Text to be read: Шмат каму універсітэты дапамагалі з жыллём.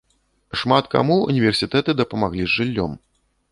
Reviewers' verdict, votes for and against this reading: rejected, 0, 2